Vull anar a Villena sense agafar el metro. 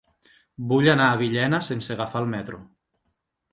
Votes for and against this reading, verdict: 3, 0, accepted